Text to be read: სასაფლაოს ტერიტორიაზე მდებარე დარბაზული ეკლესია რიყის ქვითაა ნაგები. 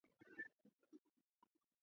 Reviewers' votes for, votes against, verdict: 0, 2, rejected